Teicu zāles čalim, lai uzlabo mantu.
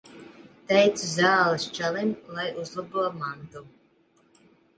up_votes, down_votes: 2, 0